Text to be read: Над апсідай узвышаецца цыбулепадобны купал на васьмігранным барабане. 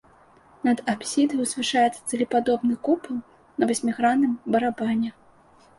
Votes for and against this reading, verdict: 0, 2, rejected